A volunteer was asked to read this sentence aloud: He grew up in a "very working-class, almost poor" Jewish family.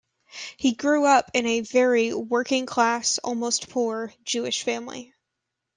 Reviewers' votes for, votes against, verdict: 2, 0, accepted